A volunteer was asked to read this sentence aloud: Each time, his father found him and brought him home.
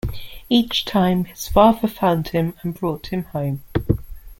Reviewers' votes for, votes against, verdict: 1, 2, rejected